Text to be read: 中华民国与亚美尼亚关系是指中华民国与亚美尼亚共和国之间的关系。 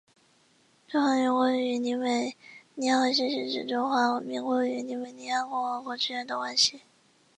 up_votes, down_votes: 2, 3